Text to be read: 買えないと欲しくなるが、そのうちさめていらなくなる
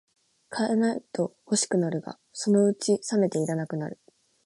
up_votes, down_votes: 0, 2